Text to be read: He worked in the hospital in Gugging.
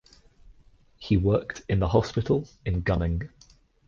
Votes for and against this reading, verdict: 2, 1, accepted